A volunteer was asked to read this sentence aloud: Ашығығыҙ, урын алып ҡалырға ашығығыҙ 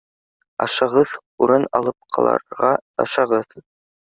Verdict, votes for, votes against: rejected, 0, 2